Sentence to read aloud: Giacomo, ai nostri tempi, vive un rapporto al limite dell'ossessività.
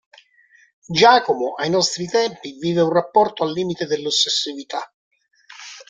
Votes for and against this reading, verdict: 0, 2, rejected